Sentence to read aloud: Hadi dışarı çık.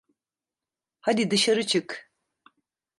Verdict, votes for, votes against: accepted, 2, 0